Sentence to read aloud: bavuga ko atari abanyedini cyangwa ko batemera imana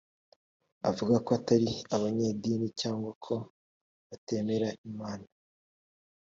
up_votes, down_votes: 2, 0